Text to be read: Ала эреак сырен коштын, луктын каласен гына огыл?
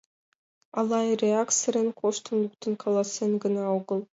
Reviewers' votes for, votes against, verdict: 3, 2, accepted